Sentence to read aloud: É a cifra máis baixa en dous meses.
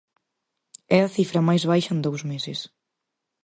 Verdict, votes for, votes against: accepted, 2, 0